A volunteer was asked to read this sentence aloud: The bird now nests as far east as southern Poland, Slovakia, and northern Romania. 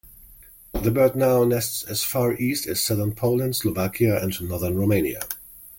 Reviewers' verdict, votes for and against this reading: accepted, 2, 0